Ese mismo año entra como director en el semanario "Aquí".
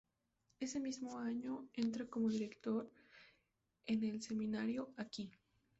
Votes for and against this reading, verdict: 2, 2, rejected